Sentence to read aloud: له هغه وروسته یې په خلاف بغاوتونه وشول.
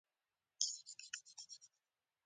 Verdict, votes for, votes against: accepted, 2, 0